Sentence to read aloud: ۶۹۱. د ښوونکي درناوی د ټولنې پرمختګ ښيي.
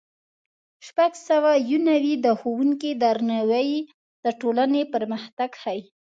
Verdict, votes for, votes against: rejected, 0, 2